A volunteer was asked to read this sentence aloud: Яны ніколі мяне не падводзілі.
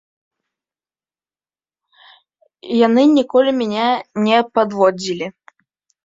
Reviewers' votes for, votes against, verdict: 0, 2, rejected